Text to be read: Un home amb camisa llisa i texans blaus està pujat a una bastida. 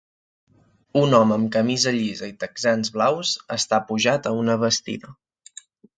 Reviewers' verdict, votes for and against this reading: accepted, 2, 0